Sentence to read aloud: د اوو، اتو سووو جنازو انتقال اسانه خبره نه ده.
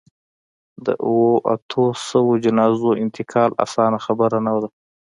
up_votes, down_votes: 0, 2